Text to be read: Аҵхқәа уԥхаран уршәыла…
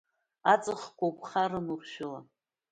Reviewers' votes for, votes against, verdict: 2, 0, accepted